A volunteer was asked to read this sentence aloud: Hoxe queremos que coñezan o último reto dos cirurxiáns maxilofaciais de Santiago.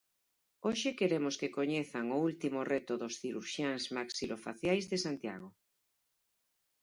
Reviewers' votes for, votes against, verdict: 4, 0, accepted